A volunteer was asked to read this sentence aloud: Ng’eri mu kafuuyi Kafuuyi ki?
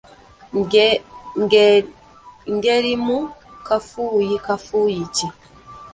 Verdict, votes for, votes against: rejected, 0, 2